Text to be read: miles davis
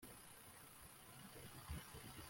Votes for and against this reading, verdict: 0, 2, rejected